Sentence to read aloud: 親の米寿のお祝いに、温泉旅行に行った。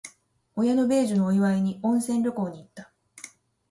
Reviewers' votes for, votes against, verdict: 2, 0, accepted